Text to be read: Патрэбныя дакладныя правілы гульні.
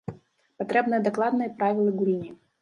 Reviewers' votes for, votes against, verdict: 1, 2, rejected